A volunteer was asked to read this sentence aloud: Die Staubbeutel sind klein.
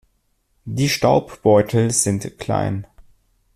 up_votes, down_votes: 2, 0